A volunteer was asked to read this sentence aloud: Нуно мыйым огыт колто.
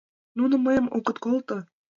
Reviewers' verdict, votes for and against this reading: accepted, 2, 0